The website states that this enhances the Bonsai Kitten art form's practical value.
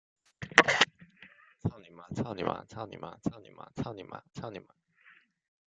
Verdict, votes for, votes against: rejected, 0, 2